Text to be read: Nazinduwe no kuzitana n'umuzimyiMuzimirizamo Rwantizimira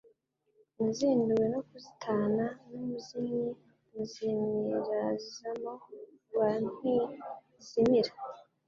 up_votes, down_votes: 1, 2